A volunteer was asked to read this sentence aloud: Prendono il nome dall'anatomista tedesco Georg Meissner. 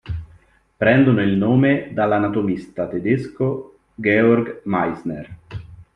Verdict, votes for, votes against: rejected, 0, 2